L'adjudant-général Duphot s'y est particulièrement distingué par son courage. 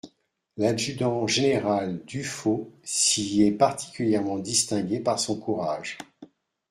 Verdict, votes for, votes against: accepted, 2, 0